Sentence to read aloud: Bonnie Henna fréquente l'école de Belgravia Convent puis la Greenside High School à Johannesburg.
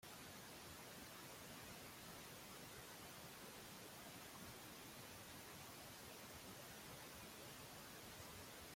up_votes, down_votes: 0, 2